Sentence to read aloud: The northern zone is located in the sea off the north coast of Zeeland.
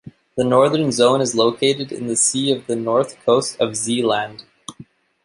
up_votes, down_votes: 2, 0